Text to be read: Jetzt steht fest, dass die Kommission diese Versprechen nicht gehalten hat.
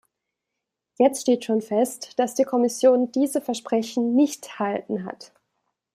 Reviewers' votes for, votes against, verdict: 0, 2, rejected